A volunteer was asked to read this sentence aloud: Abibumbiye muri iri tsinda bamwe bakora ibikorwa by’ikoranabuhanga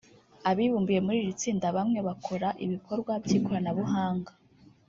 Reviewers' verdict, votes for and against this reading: rejected, 0, 2